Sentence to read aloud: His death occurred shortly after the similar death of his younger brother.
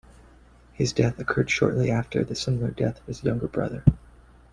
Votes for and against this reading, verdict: 1, 2, rejected